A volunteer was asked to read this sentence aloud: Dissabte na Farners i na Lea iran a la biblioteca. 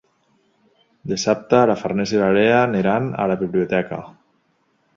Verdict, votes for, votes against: rejected, 1, 2